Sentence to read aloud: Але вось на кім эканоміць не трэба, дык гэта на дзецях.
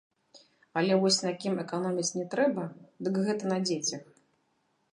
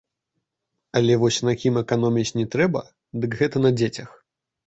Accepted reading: second